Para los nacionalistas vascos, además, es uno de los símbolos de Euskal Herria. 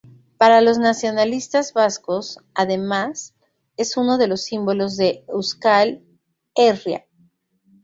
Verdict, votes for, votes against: rejected, 2, 2